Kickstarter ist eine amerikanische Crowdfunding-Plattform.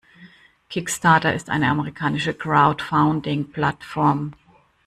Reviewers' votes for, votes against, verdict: 1, 2, rejected